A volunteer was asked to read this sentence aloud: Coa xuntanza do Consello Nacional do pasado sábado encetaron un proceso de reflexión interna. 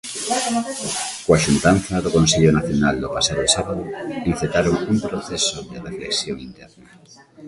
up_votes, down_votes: 1, 2